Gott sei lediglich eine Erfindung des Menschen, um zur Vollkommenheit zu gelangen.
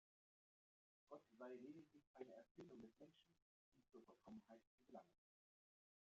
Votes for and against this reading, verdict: 0, 2, rejected